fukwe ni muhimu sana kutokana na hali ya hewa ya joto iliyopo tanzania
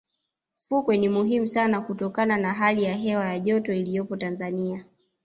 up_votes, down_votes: 1, 2